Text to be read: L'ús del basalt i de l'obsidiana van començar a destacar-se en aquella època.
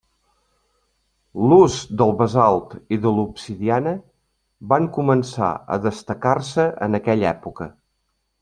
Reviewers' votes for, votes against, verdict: 3, 0, accepted